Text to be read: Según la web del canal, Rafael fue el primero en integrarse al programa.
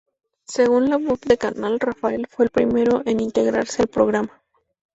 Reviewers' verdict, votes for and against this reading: rejected, 0, 2